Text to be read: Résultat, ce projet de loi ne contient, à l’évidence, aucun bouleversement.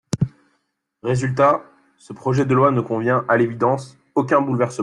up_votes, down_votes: 0, 2